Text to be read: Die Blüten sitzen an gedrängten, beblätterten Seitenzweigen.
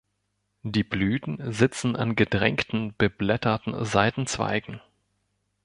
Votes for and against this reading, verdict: 2, 0, accepted